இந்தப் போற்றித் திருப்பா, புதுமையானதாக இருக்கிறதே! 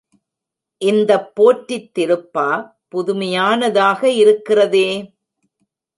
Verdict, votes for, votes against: rejected, 0, 2